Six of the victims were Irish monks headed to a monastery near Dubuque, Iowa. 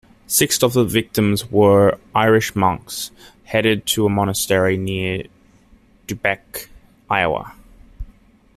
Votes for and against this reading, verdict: 1, 2, rejected